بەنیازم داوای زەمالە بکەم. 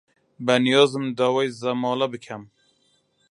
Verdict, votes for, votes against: rejected, 0, 2